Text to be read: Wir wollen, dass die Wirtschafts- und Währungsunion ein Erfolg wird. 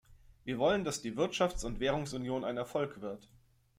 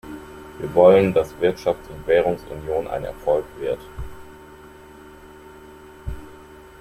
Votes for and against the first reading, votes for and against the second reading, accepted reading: 2, 0, 1, 2, first